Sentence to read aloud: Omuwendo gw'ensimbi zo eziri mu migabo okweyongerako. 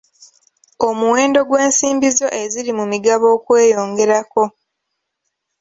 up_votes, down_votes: 2, 0